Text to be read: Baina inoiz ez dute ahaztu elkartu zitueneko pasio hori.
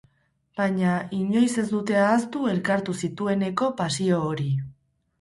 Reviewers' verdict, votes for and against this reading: accepted, 6, 2